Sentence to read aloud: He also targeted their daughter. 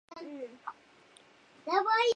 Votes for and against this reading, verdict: 0, 2, rejected